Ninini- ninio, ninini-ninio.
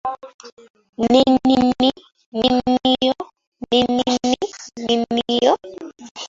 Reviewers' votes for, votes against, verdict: 0, 2, rejected